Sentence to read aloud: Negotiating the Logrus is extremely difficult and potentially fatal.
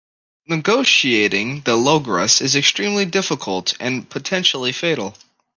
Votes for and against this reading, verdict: 2, 0, accepted